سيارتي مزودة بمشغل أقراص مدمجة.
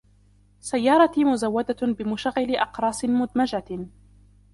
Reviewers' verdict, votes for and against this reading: rejected, 1, 2